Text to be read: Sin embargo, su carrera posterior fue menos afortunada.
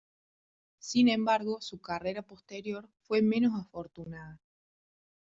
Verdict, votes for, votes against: rejected, 1, 2